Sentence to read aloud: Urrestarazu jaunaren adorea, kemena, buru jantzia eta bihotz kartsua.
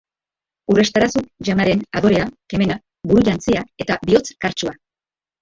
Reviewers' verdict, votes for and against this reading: rejected, 1, 3